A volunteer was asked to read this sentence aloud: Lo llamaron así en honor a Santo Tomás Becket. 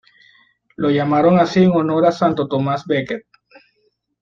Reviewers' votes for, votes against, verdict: 2, 0, accepted